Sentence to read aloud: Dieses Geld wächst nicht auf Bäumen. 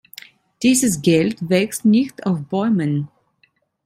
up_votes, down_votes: 1, 2